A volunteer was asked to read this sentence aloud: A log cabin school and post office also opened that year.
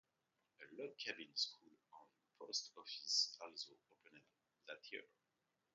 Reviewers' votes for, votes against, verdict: 0, 2, rejected